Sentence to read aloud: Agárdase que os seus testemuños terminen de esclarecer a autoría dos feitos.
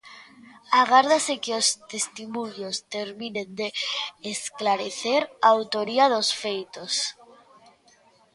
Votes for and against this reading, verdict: 0, 2, rejected